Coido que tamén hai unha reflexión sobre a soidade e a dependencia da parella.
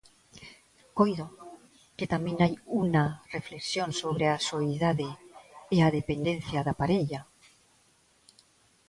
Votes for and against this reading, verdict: 0, 2, rejected